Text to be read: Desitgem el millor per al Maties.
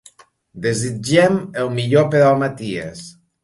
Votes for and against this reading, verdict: 2, 0, accepted